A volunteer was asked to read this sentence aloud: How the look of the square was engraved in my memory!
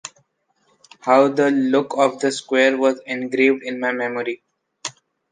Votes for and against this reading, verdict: 2, 0, accepted